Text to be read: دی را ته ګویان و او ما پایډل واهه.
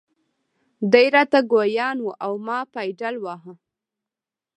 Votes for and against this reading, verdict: 2, 0, accepted